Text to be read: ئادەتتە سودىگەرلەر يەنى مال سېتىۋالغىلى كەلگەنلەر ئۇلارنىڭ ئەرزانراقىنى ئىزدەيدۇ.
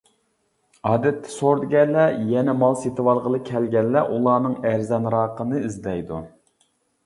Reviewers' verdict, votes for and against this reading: rejected, 0, 2